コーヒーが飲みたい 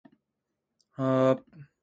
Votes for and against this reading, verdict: 0, 2, rejected